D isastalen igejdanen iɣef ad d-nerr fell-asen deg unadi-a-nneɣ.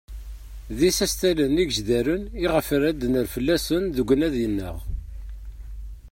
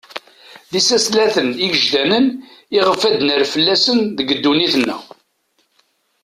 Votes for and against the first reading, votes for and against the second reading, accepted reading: 2, 1, 1, 2, first